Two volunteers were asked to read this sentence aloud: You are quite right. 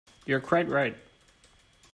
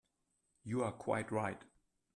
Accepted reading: second